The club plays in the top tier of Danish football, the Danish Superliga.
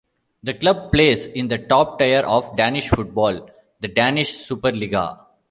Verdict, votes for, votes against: accepted, 2, 0